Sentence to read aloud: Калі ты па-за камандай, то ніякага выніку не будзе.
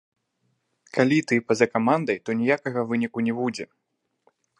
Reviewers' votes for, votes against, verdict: 1, 2, rejected